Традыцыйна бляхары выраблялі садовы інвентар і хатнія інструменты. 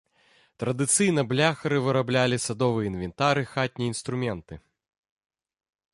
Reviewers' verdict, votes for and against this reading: accepted, 3, 0